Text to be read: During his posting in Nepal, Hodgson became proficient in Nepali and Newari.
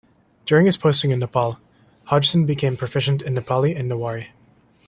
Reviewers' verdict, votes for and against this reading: accepted, 2, 0